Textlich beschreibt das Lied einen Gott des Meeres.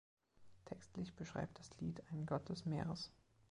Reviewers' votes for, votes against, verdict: 3, 1, accepted